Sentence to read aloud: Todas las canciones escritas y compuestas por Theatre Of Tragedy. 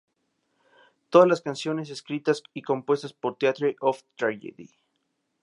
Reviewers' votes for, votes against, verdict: 2, 0, accepted